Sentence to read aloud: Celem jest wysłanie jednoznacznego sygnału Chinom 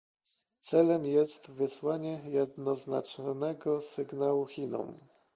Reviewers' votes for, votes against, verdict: 2, 0, accepted